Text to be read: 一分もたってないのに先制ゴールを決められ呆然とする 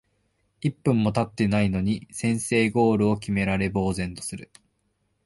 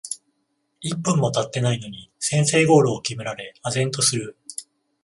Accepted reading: first